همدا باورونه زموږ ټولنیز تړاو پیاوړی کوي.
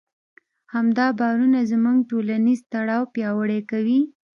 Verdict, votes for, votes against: accepted, 2, 0